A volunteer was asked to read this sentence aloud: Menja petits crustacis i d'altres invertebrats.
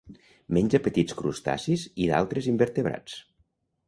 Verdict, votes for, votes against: accepted, 2, 0